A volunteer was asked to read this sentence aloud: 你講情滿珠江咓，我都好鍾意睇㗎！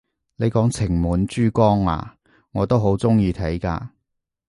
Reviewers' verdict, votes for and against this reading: accepted, 2, 0